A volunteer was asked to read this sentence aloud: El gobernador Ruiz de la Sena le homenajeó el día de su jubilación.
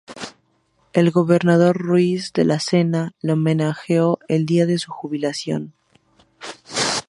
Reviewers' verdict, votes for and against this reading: accepted, 2, 0